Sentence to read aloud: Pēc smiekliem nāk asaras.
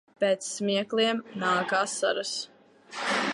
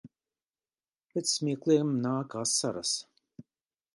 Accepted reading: second